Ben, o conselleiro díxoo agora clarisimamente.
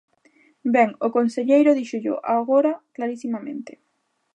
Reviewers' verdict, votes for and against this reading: rejected, 0, 2